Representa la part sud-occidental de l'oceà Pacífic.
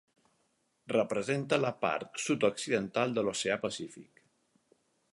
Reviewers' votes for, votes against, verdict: 4, 0, accepted